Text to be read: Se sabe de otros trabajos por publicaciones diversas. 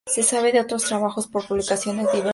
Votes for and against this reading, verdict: 0, 4, rejected